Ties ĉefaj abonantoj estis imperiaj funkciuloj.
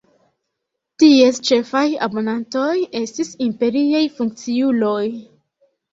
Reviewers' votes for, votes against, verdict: 2, 1, accepted